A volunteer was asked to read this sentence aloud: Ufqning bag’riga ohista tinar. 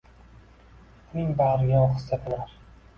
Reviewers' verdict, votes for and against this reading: rejected, 0, 2